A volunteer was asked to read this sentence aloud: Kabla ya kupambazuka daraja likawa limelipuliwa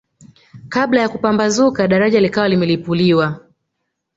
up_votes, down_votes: 0, 2